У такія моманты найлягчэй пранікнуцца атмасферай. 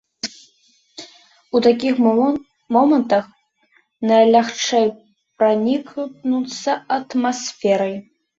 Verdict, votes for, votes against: rejected, 0, 2